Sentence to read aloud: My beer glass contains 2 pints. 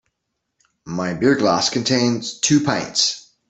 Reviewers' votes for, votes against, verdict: 0, 2, rejected